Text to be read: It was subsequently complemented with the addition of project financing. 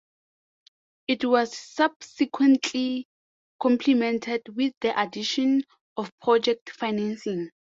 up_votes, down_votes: 2, 0